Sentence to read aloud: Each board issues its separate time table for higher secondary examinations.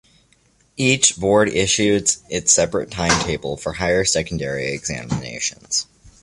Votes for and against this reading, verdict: 2, 0, accepted